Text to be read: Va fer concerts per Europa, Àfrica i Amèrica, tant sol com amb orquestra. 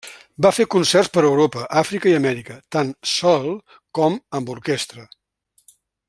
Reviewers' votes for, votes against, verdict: 1, 2, rejected